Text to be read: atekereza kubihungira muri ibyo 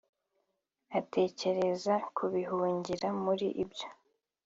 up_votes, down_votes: 2, 0